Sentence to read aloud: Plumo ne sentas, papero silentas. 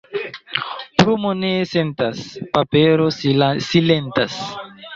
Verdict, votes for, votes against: rejected, 1, 2